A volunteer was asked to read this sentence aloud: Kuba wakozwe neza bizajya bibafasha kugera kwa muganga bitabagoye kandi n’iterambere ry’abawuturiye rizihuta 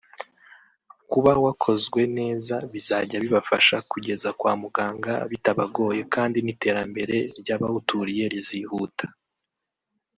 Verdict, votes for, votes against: rejected, 1, 2